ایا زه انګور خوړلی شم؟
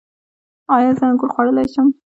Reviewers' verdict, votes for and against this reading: rejected, 0, 2